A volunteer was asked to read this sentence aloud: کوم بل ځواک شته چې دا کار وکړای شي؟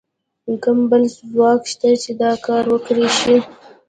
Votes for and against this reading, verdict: 1, 2, rejected